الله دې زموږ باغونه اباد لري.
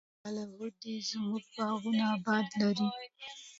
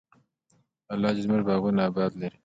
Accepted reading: second